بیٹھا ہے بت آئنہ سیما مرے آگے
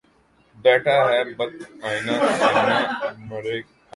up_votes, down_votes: 1, 3